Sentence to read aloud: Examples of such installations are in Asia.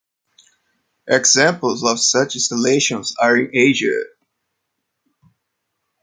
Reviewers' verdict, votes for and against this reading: accepted, 2, 0